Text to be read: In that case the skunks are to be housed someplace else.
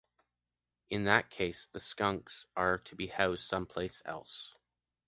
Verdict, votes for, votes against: accepted, 2, 1